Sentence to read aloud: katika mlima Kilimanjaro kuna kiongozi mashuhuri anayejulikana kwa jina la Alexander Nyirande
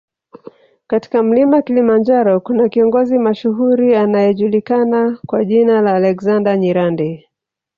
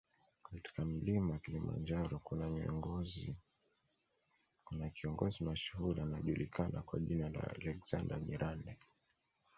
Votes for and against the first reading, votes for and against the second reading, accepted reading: 3, 0, 0, 2, first